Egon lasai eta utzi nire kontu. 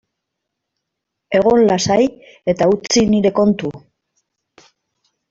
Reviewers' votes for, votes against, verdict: 2, 0, accepted